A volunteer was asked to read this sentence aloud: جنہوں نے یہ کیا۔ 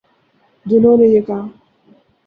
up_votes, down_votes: 0, 2